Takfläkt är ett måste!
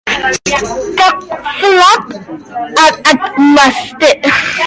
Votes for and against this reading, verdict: 0, 2, rejected